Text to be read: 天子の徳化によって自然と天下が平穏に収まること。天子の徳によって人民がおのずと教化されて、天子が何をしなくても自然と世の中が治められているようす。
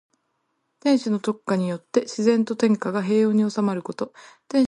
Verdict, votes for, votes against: rejected, 0, 2